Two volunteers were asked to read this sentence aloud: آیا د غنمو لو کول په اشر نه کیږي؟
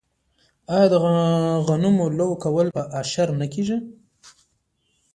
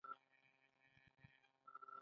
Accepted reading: first